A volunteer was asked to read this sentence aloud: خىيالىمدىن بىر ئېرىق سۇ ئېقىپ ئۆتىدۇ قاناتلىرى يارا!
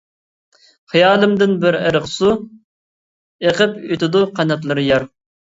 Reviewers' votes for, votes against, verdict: 0, 2, rejected